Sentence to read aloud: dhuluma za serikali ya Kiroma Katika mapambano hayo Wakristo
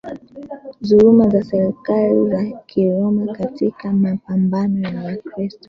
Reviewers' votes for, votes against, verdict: 2, 1, accepted